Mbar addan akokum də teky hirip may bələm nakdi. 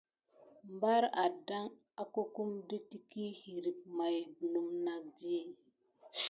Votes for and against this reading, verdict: 2, 0, accepted